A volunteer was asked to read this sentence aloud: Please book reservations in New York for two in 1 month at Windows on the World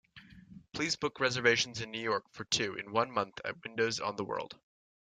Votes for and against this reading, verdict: 0, 2, rejected